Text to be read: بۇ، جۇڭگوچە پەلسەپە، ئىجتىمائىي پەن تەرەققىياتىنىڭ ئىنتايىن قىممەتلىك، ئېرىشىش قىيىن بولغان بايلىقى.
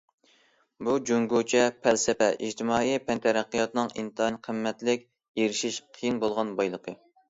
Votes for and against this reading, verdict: 2, 0, accepted